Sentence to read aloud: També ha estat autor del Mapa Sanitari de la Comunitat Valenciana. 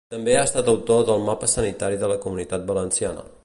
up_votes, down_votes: 3, 0